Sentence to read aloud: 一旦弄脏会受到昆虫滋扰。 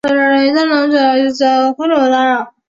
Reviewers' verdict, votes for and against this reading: rejected, 0, 2